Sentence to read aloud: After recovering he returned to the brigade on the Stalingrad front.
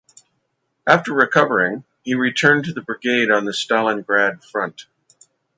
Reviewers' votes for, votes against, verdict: 2, 0, accepted